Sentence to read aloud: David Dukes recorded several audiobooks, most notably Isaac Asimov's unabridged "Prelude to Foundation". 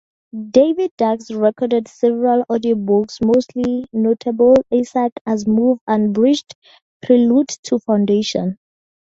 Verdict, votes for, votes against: rejected, 0, 2